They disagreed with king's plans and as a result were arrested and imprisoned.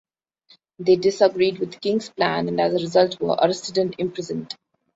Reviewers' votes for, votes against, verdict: 2, 1, accepted